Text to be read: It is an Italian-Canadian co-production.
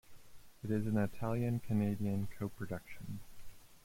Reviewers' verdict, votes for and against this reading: accepted, 2, 1